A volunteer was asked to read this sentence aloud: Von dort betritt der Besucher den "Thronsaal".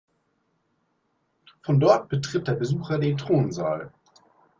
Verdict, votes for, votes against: accepted, 2, 0